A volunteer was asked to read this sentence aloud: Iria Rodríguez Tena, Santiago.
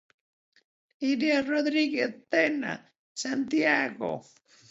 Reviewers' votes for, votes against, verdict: 3, 0, accepted